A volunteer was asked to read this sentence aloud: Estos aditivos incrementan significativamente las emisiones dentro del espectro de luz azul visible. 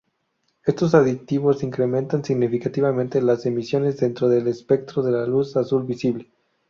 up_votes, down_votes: 0, 2